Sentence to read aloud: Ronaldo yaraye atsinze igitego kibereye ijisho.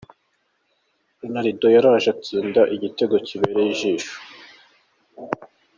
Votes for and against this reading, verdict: 0, 2, rejected